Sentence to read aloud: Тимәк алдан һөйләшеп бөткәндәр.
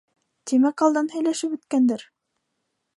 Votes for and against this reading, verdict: 2, 1, accepted